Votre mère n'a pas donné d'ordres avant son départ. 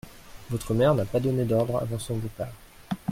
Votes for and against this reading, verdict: 2, 0, accepted